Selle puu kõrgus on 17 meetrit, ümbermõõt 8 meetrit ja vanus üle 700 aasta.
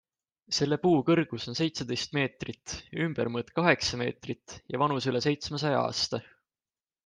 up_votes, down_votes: 0, 2